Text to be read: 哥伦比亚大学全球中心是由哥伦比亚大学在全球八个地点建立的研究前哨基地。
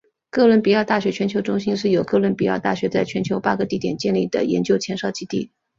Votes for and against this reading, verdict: 2, 0, accepted